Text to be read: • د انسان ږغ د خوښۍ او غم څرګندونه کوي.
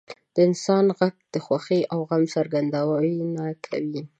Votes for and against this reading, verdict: 0, 2, rejected